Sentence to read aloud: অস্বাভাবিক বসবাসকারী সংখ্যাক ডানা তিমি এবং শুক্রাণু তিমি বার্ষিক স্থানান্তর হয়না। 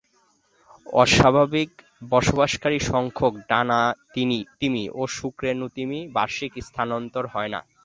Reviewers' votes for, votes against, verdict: 0, 2, rejected